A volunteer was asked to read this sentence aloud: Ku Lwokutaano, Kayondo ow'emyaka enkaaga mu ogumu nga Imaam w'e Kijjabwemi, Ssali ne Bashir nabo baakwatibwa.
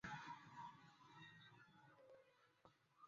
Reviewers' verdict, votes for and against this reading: rejected, 0, 2